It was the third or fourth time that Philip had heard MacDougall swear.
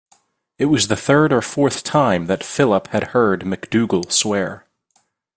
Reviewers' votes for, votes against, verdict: 2, 0, accepted